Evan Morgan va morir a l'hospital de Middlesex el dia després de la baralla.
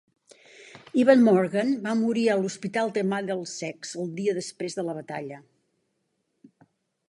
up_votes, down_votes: 0, 2